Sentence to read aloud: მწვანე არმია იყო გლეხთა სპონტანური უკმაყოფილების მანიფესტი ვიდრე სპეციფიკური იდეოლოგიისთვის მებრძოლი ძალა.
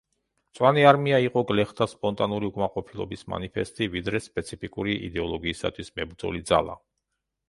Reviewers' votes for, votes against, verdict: 0, 2, rejected